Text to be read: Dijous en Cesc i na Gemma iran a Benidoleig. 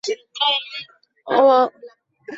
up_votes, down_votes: 0, 2